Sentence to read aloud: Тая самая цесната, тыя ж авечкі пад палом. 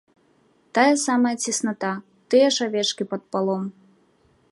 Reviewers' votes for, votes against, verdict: 3, 0, accepted